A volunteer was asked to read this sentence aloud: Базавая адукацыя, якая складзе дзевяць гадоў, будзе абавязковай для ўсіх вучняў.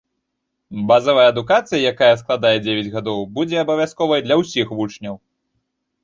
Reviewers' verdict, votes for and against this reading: accepted, 2, 1